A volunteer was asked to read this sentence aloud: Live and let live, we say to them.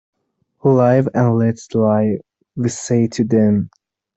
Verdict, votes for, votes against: rejected, 0, 2